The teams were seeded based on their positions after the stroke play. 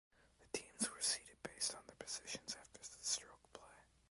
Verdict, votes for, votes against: rejected, 1, 2